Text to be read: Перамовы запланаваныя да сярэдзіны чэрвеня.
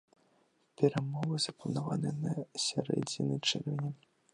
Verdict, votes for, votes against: rejected, 1, 2